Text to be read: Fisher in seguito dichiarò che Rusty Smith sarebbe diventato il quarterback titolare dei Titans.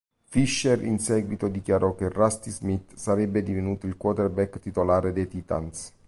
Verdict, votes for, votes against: rejected, 1, 2